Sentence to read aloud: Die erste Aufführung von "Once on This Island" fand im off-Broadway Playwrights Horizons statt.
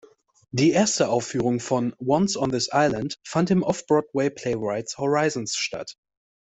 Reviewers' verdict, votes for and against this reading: accepted, 2, 0